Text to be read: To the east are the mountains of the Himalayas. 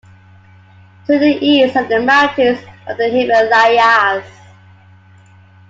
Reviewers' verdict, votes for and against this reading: accepted, 2, 0